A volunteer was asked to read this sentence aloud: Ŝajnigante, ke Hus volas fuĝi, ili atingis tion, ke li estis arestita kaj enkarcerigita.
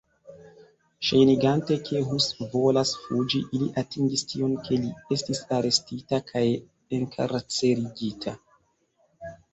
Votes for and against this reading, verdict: 0, 2, rejected